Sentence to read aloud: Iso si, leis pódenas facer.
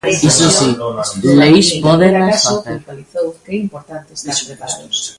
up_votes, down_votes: 0, 2